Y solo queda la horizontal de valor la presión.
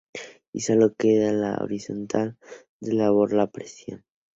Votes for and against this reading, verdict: 0, 2, rejected